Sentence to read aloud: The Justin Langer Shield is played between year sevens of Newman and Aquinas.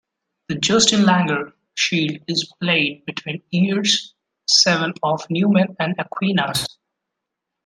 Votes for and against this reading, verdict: 1, 2, rejected